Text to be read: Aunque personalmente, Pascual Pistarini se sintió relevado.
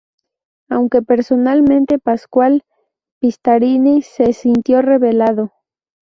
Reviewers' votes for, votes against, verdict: 0, 2, rejected